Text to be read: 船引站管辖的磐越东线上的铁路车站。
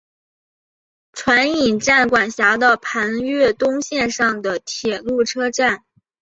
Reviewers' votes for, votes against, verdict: 2, 0, accepted